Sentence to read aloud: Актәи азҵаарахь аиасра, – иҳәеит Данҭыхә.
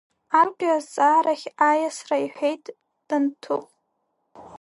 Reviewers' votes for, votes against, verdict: 2, 0, accepted